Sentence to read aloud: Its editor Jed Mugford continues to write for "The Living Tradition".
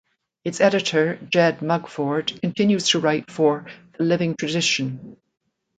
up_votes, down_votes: 2, 1